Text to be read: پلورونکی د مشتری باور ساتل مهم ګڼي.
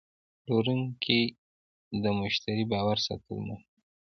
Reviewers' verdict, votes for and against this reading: rejected, 0, 2